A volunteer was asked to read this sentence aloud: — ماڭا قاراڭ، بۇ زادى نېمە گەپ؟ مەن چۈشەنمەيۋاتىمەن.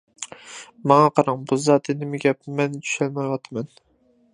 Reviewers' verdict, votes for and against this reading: accepted, 2, 1